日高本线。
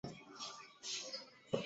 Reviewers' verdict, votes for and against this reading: accepted, 3, 2